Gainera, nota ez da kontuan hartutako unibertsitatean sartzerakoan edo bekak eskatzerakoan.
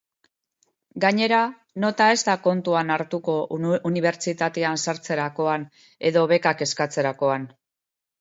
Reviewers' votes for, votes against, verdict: 2, 1, accepted